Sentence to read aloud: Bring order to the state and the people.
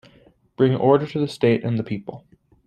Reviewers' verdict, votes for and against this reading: accepted, 2, 0